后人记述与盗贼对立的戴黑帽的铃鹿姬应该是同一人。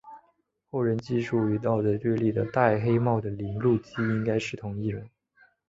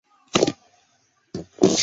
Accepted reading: first